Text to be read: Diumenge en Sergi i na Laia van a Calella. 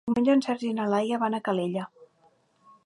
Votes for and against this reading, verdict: 0, 2, rejected